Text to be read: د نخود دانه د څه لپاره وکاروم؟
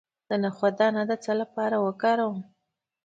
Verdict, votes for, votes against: accepted, 2, 0